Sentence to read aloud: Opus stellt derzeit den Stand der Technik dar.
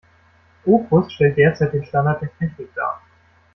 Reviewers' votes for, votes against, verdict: 0, 2, rejected